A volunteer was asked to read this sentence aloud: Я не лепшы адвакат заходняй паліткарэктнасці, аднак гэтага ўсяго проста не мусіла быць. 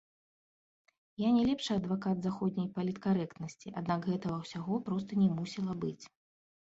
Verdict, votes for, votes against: accepted, 2, 1